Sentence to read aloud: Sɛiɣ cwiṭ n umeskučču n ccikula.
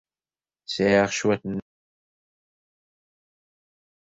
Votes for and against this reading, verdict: 0, 2, rejected